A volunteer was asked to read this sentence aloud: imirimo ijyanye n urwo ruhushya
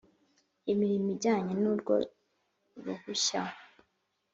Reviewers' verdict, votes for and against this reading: accepted, 3, 0